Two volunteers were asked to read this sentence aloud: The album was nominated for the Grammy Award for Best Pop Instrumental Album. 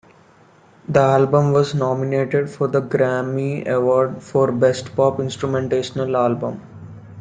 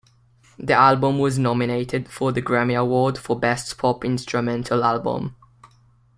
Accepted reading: second